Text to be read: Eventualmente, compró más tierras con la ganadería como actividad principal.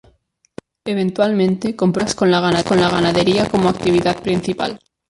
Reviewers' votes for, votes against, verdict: 0, 2, rejected